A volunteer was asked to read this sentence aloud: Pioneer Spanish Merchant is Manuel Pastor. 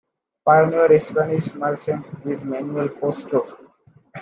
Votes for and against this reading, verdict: 2, 1, accepted